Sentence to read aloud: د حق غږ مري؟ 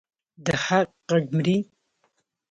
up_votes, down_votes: 2, 0